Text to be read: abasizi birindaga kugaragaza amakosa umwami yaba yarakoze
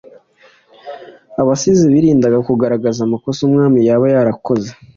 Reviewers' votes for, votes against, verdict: 2, 0, accepted